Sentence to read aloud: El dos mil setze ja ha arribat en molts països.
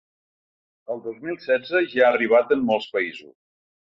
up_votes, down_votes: 1, 2